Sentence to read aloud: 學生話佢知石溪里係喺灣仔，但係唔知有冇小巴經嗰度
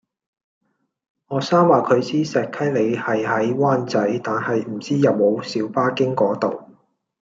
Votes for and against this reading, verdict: 2, 1, accepted